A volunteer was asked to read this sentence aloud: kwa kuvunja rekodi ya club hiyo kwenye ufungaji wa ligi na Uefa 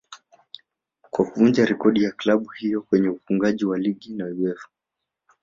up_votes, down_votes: 0, 2